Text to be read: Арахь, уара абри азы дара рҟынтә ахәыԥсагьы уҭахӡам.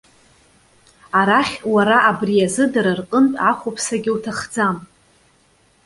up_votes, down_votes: 2, 0